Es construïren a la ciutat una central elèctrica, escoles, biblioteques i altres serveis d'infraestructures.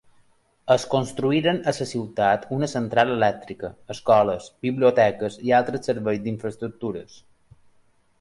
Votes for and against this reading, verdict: 1, 3, rejected